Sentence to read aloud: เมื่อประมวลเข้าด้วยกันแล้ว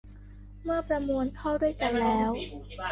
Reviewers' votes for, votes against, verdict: 0, 2, rejected